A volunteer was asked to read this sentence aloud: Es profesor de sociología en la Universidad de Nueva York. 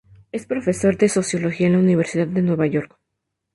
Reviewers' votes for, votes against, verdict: 2, 0, accepted